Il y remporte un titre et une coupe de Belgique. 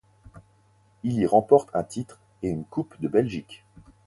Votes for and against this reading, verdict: 4, 0, accepted